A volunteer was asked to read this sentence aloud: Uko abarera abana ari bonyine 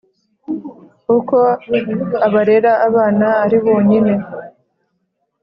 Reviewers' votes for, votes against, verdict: 2, 0, accepted